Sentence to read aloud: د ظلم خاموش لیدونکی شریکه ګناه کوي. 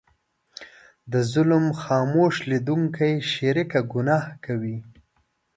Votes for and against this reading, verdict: 2, 0, accepted